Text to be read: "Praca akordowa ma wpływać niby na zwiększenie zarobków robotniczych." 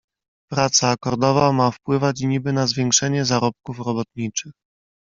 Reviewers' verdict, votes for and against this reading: accepted, 2, 0